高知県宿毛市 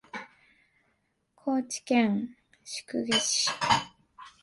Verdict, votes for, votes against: accepted, 3, 1